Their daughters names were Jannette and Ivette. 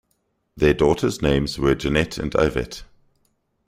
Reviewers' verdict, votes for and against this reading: accepted, 2, 0